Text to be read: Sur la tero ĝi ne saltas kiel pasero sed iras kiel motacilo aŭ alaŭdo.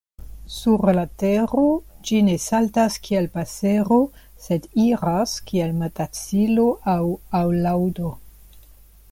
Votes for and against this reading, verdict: 0, 2, rejected